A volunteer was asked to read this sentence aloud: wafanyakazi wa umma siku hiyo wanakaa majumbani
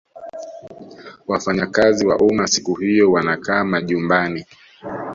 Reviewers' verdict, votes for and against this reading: accepted, 2, 0